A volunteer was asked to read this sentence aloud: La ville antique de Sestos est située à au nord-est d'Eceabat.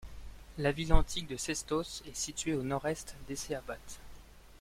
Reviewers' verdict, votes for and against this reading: accepted, 2, 0